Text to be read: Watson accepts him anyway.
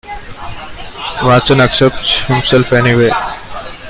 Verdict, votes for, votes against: rejected, 0, 2